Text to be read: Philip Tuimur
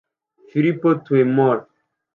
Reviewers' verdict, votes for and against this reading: rejected, 0, 2